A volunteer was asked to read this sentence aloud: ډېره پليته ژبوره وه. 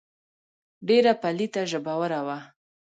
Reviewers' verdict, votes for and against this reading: rejected, 1, 2